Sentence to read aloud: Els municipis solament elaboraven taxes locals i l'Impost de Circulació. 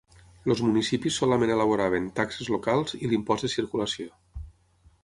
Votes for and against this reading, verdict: 0, 6, rejected